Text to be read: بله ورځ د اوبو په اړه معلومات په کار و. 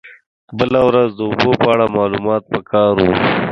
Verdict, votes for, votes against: rejected, 1, 2